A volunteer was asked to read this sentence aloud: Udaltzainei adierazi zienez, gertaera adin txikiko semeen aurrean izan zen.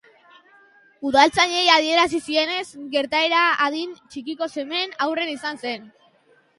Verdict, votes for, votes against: rejected, 2, 2